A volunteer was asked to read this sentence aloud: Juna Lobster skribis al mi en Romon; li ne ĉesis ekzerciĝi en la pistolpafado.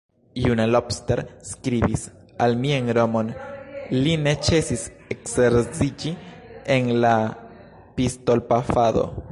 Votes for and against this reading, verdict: 0, 2, rejected